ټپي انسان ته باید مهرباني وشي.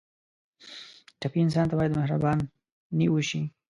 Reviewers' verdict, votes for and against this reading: rejected, 1, 2